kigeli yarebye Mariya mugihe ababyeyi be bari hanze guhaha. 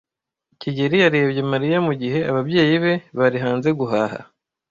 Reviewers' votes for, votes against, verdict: 1, 2, rejected